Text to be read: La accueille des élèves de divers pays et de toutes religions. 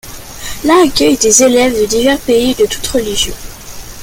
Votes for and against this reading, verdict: 2, 0, accepted